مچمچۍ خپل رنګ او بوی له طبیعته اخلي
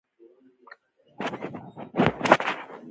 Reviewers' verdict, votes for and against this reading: rejected, 0, 2